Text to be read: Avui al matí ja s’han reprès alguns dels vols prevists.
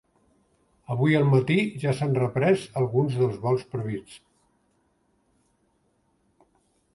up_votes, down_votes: 3, 0